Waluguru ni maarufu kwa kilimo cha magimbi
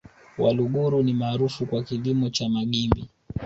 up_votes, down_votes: 3, 1